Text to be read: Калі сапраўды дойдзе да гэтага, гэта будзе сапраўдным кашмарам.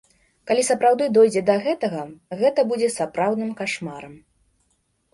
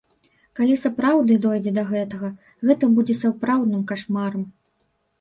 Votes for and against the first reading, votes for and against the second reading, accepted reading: 2, 0, 1, 2, first